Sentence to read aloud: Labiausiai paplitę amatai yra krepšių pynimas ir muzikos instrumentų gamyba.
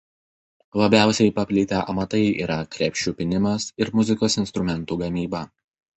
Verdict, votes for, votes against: rejected, 0, 2